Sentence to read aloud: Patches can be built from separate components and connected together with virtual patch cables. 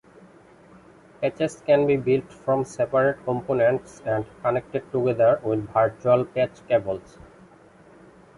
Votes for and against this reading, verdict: 1, 2, rejected